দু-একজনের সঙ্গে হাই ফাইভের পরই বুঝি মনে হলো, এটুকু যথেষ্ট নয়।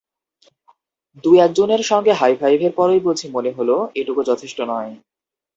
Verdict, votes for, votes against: accepted, 2, 0